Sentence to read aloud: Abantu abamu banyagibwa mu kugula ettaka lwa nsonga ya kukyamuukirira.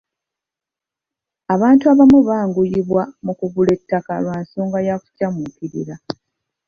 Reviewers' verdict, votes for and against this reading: rejected, 0, 2